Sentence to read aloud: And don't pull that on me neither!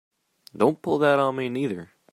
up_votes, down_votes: 3, 0